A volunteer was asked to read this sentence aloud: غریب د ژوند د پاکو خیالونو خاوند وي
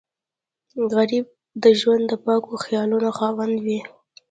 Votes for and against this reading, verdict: 2, 1, accepted